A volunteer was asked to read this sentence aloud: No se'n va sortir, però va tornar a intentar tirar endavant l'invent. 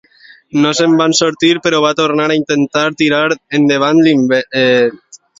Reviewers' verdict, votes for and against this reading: rejected, 0, 2